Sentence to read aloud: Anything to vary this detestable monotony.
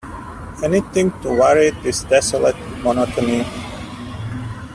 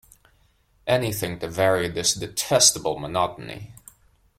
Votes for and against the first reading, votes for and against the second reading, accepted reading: 0, 2, 2, 0, second